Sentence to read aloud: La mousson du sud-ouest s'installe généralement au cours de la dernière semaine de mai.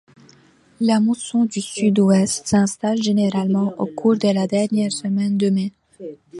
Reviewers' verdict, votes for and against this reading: accepted, 2, 0